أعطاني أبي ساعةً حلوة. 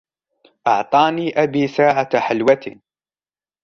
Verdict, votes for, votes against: rejected, 0, 2